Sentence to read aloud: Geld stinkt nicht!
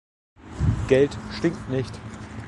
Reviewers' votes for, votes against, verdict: 3, 0, accepted